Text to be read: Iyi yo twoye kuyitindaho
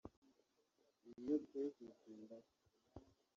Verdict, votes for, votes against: rejected, 1, 2